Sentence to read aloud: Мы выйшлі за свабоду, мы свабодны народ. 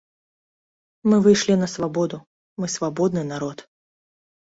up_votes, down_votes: 0, 2